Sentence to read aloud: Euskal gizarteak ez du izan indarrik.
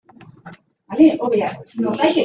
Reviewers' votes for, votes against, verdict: 0, 2, rejected